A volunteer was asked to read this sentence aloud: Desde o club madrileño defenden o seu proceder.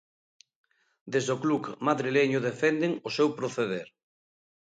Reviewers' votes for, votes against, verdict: 1, 2, rejected